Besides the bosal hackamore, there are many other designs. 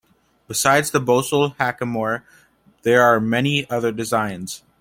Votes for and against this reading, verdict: 2, 0, accepted